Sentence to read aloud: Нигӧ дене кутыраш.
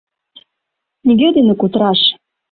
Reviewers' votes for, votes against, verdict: 2, 0, accepted